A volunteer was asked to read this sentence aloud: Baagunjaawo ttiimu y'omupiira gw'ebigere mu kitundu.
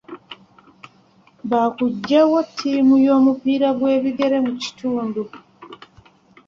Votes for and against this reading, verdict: 1, 2, rejected